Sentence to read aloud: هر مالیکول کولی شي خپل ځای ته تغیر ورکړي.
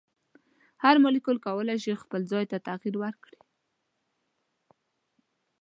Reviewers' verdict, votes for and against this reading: accepted, 2, 0